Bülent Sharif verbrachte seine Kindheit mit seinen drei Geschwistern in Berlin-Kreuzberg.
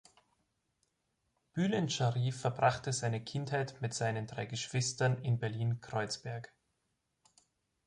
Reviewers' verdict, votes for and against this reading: accepted, 3, 0